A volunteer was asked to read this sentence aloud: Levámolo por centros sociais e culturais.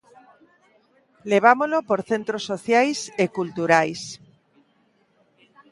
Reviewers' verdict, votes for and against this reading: rejected, 0, 2